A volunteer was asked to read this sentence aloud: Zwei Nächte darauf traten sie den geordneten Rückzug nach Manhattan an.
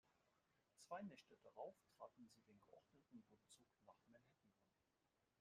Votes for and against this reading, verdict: 0, 2, rejected